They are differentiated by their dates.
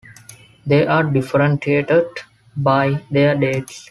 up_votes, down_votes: 2, 0